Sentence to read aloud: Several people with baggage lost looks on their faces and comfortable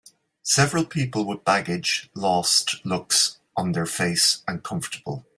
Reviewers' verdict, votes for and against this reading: rejected, 0, 2